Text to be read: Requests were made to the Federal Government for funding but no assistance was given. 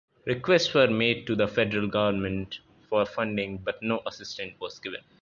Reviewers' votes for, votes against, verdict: 2, 1, accepted